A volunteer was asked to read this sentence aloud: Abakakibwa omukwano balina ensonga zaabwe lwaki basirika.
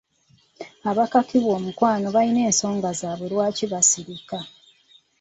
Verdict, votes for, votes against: accepted, 2, 0